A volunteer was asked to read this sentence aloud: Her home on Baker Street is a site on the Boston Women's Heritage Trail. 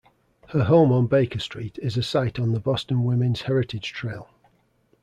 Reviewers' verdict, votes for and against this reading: accepted, 3, 0